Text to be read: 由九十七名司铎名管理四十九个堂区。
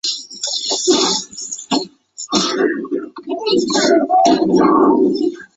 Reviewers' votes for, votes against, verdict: 0, 3, rejected